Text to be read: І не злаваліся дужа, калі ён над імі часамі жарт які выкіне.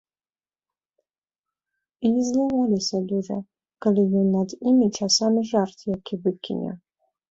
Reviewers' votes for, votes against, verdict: 2, 1, accepted